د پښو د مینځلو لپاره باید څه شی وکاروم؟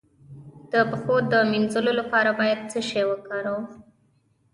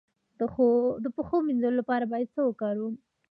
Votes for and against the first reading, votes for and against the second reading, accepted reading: 2, 0, 1, 2, first